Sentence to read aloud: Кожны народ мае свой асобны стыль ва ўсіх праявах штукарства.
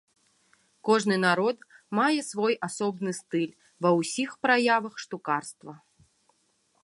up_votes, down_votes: 3, 0